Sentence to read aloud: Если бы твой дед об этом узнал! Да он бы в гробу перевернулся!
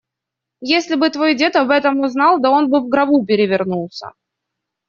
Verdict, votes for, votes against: accepted, 2, 0